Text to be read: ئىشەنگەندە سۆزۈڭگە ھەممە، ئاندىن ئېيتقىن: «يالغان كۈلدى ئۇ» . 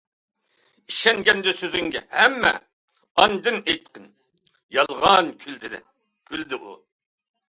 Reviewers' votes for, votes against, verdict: 0, 2, rejected